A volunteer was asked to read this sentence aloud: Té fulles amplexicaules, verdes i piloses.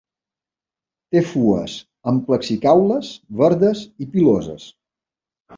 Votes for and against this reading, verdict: 1, 2, rejected